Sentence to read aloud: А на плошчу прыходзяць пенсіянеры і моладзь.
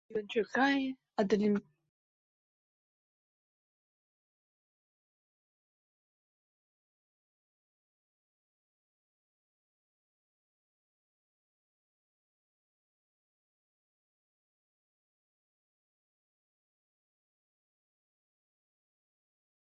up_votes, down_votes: 0, 2